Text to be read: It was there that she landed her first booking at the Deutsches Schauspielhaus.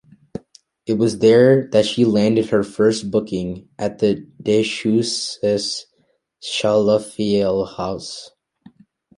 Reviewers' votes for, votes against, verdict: 1, 2, rejected